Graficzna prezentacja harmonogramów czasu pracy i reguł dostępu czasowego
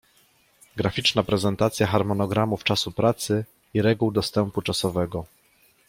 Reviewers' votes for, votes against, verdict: 2, 0, accepted